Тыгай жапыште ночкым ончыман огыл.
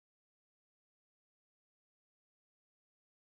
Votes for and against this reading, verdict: 0, 2, rejected